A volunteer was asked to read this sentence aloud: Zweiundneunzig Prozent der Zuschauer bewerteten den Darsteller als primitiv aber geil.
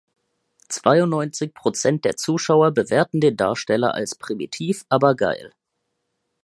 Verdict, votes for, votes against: rejected, 0, 2